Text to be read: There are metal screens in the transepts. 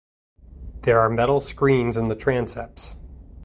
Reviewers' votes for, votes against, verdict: 2, 0, accepted